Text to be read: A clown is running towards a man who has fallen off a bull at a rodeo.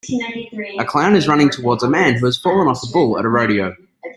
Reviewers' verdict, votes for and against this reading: rejected, 0, 2